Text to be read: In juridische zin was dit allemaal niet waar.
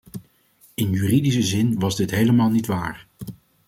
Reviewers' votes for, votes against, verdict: 1, 2, rejected